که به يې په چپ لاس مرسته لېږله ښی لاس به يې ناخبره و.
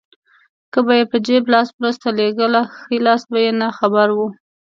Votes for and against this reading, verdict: 2, 1, accepted